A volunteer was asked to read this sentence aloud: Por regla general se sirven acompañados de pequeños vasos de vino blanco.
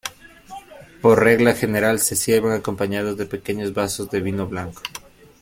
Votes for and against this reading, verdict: 2, 0, accepted